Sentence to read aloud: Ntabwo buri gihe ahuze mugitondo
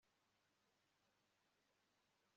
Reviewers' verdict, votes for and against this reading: rejected, 1, 3